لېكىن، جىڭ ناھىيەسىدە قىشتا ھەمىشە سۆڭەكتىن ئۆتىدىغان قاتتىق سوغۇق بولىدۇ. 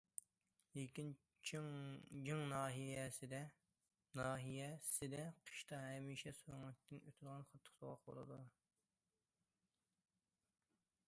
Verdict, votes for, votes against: rejected, 0, 2